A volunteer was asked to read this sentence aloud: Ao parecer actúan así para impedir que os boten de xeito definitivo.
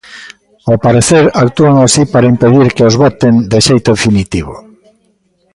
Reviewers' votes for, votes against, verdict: 1, 2, rejected